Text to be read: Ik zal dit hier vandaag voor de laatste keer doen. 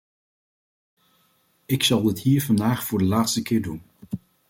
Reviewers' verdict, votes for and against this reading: accepted, 2, 0